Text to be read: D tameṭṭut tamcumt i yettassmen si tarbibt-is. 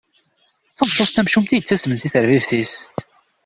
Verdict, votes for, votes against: rejected, 1, 2